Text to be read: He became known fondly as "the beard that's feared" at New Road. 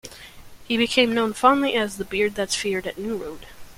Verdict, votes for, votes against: accepted, 2, 0